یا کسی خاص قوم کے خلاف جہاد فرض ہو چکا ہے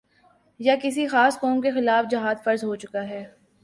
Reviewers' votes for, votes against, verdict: 3, 0, accepted